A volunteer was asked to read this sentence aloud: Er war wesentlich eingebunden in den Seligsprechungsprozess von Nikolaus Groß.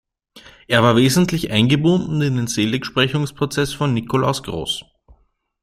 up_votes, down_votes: 2, 0